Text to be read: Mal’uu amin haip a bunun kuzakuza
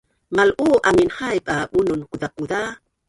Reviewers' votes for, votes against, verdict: 1, 2, rejected